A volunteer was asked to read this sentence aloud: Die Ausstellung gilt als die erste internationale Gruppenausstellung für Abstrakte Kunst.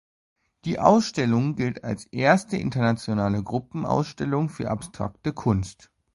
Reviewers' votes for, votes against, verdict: 0, 2, rejected